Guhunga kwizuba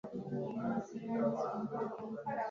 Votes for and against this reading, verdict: 1, 3, rejected